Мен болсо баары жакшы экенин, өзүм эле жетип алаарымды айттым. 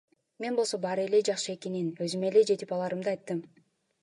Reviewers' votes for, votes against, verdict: 2, 0, accepted